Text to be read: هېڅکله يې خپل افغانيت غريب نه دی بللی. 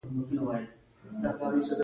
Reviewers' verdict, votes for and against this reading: accepted, 2, 0